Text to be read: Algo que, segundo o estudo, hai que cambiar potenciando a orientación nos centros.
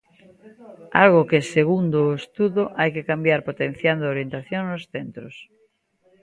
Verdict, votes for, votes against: accepted, 2, 0